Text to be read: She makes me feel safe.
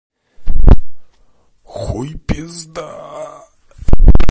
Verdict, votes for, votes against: rejected, 0, 2